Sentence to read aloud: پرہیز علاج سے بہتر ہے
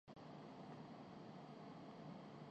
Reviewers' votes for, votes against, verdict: 0, 2, rejected